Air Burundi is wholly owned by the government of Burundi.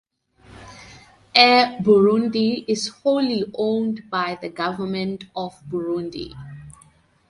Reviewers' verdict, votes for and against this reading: accepted, 4, 0